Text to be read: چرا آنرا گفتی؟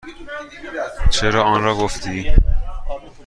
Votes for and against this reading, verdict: 2, 0, accepted